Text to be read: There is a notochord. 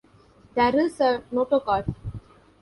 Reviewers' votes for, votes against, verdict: 1, 2, rejected